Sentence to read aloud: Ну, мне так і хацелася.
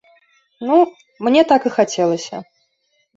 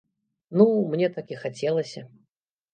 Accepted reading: first